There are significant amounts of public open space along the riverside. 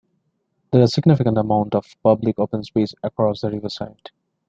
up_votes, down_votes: 1, 2